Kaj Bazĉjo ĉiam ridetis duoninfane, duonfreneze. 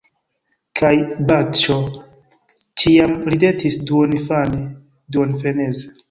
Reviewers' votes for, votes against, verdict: 2, 1, accepted